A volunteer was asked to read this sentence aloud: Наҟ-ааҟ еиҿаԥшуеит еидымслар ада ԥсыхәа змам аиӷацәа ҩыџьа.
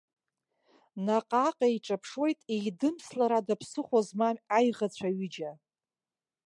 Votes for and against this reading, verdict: 2, 0, accepted